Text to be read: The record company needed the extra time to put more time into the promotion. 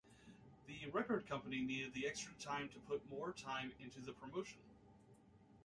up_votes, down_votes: 2, 0